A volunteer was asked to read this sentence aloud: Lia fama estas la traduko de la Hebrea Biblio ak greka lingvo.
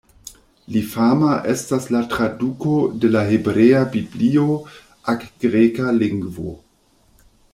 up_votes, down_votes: 1, 2